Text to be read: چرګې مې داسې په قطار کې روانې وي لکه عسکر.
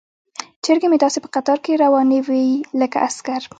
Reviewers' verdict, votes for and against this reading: rejected, 1, 2